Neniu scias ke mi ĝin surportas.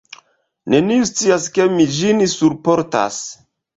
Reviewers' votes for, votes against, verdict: 1, 2, rejected